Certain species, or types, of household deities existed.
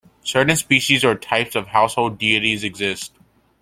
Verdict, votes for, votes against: rejected, 1, 2